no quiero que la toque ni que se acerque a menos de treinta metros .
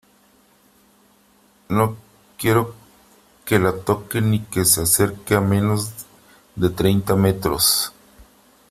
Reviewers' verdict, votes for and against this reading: accepted, 3, 0